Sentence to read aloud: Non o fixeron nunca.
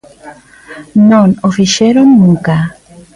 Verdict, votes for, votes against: rejected, 1, 2